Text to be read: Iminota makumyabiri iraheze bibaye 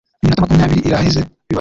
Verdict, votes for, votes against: rejected, 0, 2